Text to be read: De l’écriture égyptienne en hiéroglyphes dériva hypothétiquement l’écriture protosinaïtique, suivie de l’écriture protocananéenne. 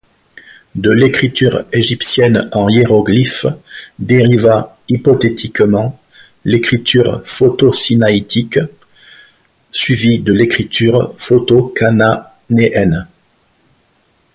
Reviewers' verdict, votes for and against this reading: rejected, 0, 2